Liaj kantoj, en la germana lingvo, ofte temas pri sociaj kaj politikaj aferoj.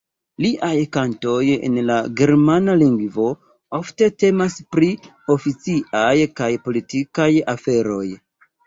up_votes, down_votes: 0, 2